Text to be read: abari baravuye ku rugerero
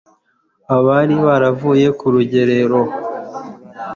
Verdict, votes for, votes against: accepted, 2, 0